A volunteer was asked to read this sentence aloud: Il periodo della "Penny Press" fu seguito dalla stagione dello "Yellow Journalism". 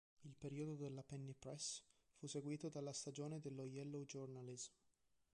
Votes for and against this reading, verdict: 1, 2, rejected